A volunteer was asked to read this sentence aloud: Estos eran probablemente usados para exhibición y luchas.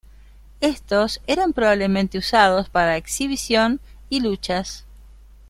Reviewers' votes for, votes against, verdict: 2, 0, accepted